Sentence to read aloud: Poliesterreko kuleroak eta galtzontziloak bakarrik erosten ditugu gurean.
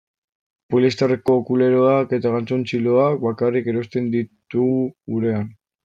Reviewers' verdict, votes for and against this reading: accepted, 2, 0